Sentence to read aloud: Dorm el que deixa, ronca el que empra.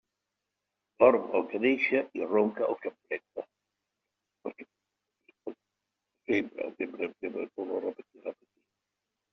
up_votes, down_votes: 0, 2